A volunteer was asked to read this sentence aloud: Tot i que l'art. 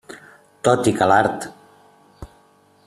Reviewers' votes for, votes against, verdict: 3, 0, accepted